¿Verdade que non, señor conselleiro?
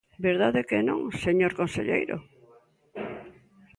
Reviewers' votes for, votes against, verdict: 0, 2, rejected